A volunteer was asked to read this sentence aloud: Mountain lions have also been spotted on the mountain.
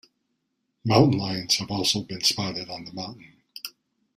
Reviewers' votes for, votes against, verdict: 1, 2, rejected